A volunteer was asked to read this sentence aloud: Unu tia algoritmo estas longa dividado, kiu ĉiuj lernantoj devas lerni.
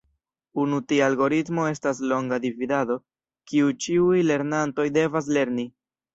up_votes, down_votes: 2, 0